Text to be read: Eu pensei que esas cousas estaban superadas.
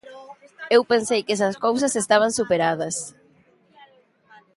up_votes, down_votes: 1, 2